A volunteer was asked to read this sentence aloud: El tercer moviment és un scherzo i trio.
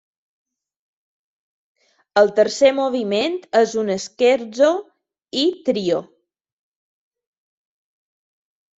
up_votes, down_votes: 2, 0